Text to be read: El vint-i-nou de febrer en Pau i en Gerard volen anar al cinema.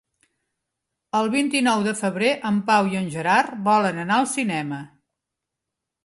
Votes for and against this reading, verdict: 2, 0, accepted